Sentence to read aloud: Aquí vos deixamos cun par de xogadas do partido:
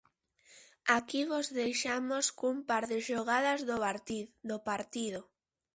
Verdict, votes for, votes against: rejected, 0, 2